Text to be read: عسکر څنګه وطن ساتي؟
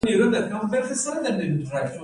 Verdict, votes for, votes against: accepted, 2, 1